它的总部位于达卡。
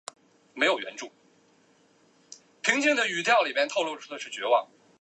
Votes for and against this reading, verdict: 0, 3, rejected